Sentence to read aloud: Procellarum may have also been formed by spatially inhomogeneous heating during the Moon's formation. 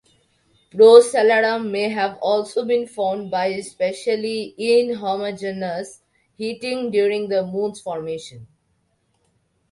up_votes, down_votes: 2, 0